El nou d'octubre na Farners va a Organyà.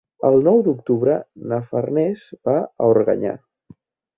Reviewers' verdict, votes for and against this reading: accepted, 2, 0